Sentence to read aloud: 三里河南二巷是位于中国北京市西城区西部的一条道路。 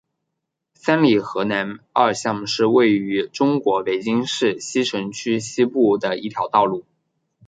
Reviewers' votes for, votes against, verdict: 3, 0, accepted